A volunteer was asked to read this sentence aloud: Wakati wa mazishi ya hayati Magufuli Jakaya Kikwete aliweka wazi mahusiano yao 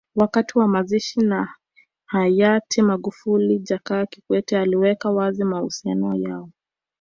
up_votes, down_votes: 0, 2